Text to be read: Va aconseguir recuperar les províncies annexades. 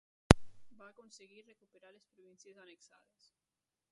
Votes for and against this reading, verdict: 1, 2, rejected